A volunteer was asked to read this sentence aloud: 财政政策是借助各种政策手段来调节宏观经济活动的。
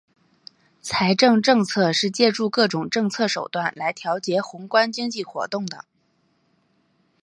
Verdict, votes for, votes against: accepted, 3, 0